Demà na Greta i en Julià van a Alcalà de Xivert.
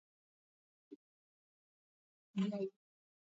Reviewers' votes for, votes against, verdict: 0, 2, rejected